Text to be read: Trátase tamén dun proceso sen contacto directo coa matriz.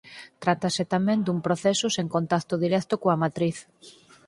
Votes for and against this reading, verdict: 4, 0, accepted